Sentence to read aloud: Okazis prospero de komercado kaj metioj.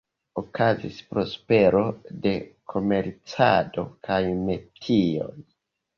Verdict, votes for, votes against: rejected, 0, 2